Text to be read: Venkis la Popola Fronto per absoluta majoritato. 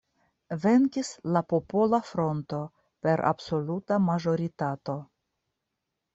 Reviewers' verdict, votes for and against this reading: rejected, 0, 2